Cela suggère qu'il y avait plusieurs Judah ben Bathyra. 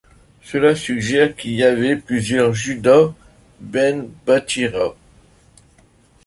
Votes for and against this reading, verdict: 0, 2, rejected